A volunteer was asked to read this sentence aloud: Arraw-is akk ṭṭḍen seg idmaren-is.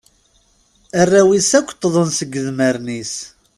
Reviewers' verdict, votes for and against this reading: accepted, 2, 0